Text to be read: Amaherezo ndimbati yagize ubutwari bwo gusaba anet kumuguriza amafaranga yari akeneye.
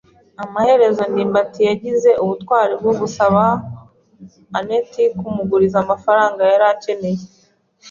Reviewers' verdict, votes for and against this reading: accepted, 3, 0